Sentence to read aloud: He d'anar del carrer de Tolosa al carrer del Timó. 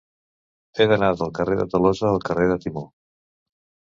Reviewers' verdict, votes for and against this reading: rejected, 0, 2